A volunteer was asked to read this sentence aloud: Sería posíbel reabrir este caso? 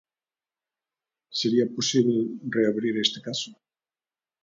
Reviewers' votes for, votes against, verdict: 2, 0, accepted